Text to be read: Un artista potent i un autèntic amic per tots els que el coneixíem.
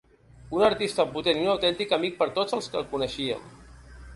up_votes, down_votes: 2, 0